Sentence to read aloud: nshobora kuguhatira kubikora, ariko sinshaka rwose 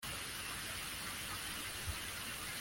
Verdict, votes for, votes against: rejected, 0, 2